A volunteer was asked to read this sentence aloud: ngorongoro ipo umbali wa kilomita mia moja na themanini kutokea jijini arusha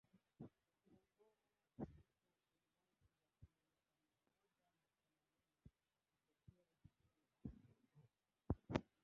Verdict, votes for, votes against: rejected, 0, 2